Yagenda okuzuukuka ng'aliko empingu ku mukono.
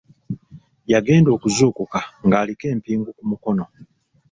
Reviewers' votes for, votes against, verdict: 2, 0, accepted